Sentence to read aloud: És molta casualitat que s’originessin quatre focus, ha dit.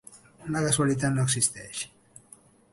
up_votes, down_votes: 1, 3